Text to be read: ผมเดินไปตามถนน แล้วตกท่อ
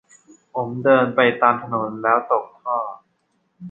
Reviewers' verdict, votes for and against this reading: accepted, 2, 0